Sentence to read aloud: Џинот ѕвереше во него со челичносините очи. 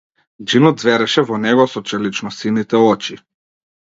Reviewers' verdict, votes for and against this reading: accepted, 2, 0